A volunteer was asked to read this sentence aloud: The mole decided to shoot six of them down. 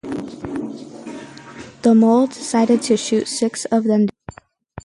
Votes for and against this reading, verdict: 0, 4, rejected